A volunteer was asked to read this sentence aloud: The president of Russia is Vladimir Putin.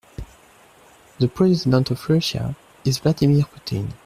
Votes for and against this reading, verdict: 2, 1, accepted